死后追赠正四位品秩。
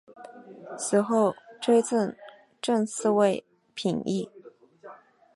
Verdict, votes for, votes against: accepted, 2, 0